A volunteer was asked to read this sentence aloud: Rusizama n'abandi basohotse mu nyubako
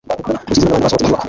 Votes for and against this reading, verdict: 0, 2, rejected